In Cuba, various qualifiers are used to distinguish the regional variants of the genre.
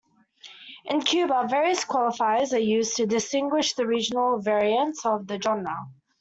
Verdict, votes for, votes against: accepted, 2, 1